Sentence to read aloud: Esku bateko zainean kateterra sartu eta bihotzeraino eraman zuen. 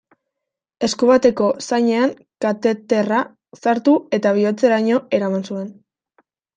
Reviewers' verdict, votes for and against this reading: accepted, 2, 0